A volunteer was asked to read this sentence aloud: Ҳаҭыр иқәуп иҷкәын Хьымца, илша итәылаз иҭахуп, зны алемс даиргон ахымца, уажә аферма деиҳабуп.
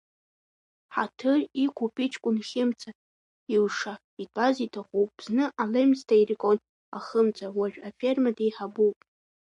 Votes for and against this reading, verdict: 0, 2, rejected